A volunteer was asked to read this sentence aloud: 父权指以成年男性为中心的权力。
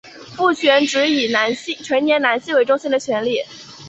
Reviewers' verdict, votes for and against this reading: accepted, 3, 0